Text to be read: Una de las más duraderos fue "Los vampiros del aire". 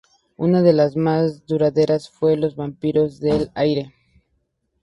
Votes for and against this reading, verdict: 0, 2, rejected